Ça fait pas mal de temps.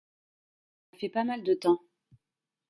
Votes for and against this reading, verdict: 0, 2, rejected